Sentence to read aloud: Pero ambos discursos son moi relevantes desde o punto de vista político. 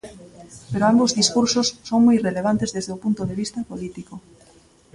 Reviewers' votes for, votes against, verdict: 2, 0, accepted